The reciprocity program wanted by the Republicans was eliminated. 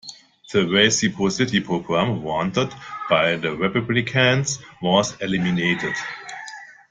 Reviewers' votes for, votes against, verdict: 2, 0, accepted